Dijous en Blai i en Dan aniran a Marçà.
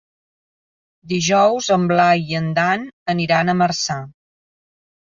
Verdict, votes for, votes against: accepted, 4, 0